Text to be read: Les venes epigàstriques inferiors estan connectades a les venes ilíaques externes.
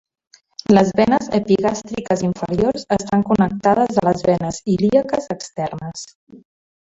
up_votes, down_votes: 1, 2